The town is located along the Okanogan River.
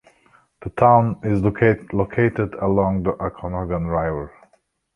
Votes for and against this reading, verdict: 0, 2, rejected